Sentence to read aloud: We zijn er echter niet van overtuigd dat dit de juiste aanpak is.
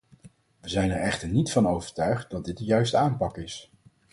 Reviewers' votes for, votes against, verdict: 4, 0, accepted